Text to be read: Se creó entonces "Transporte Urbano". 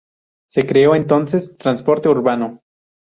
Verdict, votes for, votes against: rejected, 0, 2